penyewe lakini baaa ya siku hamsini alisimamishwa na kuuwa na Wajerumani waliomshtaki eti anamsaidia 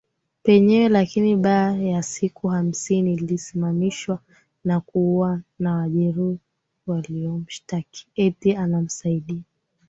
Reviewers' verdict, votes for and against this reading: accepted, 3, 0